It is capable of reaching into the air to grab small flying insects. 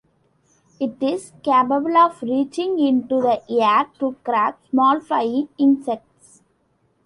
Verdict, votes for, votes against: accepted, 2, 0